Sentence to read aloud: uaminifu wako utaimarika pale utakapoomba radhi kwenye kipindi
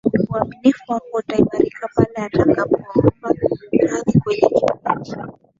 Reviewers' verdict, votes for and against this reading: accepted, 2, 0